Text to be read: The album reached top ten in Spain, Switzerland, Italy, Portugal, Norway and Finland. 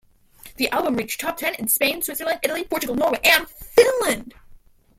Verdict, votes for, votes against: rejected, 1, 2